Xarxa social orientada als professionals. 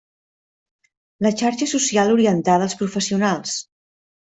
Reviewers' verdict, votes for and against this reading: rejected, 1, 2